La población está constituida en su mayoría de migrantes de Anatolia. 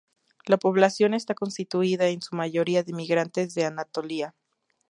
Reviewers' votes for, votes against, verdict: 0, 2, rejected